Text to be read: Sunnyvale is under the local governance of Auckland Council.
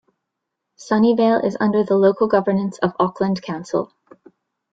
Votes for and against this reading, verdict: 0, 2, rejected